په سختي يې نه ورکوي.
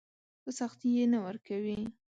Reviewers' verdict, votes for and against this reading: accepted, 2, 0